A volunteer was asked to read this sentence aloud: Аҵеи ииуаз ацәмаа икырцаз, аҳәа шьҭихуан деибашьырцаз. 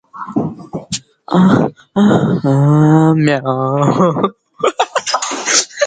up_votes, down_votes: 0, 2